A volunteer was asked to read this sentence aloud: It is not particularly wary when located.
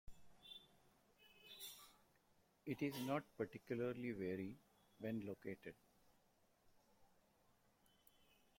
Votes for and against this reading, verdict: 2, 1, accepted